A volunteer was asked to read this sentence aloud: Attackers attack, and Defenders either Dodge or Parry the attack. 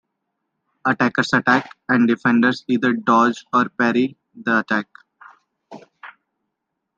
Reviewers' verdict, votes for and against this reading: accepted, 2, 0